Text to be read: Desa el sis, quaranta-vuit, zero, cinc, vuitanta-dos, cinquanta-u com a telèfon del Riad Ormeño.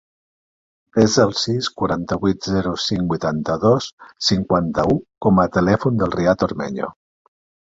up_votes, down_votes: 2, 0